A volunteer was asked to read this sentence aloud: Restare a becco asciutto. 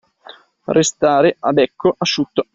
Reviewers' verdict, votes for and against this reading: accepted, 2, 0